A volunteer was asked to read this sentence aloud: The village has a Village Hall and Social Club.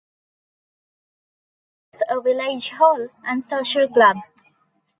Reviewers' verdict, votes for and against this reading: rejected, 0, 2